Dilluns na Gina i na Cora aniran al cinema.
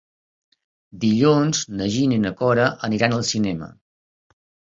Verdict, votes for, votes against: accepted, 2, 0